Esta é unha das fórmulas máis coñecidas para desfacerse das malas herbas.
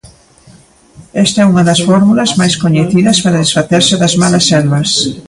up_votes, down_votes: 0, 2